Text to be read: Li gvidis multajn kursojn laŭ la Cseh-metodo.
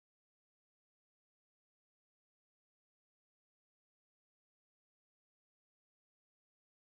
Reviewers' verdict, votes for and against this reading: accepted, 2, 1